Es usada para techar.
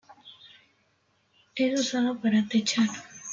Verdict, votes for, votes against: rejected, 0, 2